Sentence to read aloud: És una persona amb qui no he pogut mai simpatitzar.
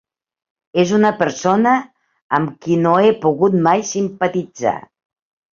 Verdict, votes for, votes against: accepted, 4, 0